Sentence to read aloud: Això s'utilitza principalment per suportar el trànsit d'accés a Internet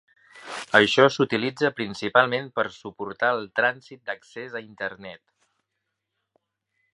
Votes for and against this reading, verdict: 2, 0, accepted